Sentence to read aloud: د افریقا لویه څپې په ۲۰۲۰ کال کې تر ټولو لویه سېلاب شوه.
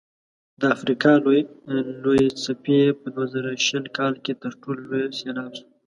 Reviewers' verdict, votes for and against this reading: rejected, 0, 2